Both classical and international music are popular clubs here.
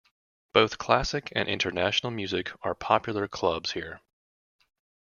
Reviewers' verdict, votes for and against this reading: rejected, 0, 2